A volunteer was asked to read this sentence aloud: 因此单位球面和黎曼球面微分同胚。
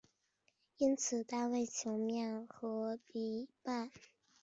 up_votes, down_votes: 0, 2